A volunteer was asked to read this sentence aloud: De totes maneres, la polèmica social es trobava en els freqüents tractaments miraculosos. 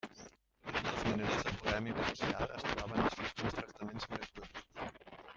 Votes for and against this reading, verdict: 0, 2, rejected